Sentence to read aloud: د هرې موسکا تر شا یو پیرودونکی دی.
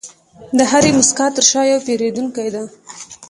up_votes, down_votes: 2, 0